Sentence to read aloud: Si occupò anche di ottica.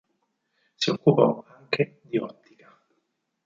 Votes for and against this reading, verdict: 2, 4, rejected